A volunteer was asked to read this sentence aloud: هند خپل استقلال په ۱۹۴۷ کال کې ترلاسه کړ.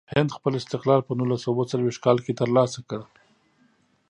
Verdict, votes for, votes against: rejected, 0, 2